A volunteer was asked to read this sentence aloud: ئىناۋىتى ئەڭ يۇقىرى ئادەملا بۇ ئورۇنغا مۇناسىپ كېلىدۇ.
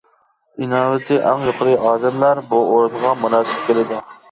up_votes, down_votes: 0, 2